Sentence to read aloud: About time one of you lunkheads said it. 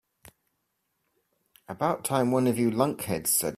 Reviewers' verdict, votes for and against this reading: rejected, 1, 2